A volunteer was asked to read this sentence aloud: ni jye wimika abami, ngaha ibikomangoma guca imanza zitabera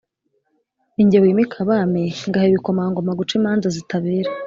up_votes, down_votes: 2, 0